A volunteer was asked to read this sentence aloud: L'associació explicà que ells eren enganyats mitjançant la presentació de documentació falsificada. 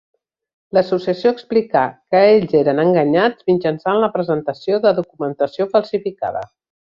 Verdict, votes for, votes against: accepted, 3, 0